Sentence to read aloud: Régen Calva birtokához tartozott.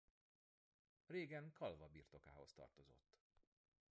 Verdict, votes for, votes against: accepted, 2, 1